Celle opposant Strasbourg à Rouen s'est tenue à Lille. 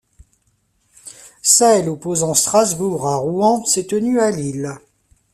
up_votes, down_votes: 2, 1